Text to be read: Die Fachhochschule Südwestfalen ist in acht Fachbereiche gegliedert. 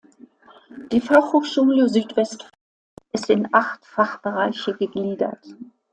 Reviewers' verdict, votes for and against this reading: rejected, 1, 2